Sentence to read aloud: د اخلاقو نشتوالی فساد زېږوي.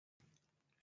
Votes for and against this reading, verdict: 0, 2, rejected